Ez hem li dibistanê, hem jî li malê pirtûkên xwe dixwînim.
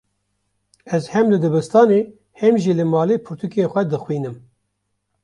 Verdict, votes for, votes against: rejected, 1, 2